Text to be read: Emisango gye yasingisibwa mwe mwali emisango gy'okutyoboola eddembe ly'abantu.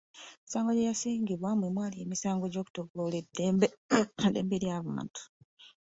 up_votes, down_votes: 1, 2